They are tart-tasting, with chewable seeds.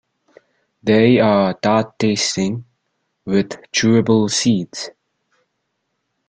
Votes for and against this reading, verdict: 0, 2, rejected